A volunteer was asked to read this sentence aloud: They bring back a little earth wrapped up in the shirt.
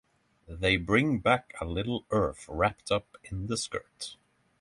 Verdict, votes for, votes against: rejected, 0, 3